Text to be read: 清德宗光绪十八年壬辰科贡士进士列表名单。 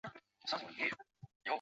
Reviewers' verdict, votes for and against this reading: rejected, 0, 2